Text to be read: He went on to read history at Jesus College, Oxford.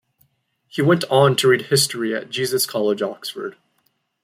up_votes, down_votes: 2, 0